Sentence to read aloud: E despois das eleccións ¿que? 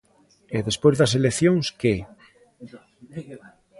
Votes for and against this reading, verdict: 1, 2, rejected